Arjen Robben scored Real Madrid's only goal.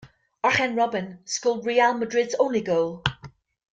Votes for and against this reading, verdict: 1, 2, rejected